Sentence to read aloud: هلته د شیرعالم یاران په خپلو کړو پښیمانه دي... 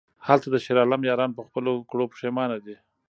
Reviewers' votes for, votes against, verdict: 1, 2, rejected